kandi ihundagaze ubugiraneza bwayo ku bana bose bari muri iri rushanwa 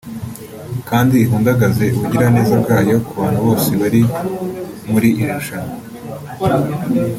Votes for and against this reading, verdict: 2, 0, accepted